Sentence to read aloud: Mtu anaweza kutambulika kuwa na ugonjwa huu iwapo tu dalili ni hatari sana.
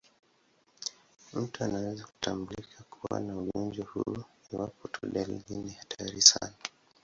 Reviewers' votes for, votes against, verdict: 3, 12, rejected